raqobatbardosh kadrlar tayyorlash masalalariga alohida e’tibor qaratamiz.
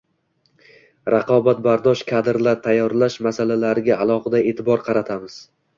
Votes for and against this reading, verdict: 2, 1, accepted